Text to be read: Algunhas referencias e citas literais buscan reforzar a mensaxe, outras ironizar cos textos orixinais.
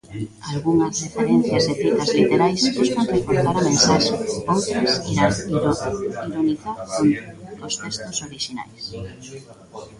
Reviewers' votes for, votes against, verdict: 0, 2, rejected